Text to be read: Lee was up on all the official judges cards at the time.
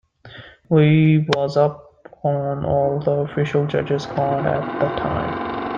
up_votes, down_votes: 0, 2